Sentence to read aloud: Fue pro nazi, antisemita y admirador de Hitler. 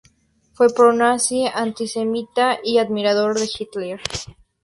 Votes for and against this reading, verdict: 4, 0, accepted